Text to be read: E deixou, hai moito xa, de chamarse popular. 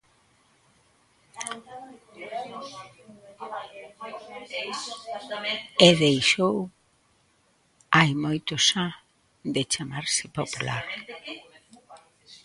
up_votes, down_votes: 1, 2